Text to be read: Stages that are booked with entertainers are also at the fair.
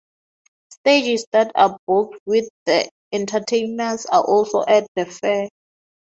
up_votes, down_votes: 2, 0